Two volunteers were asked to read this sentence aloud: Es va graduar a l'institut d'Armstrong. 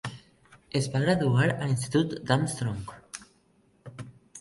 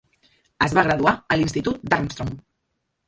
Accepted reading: first